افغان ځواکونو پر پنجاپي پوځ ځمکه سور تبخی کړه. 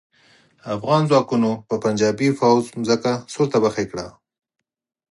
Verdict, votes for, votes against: accepted, 6, 0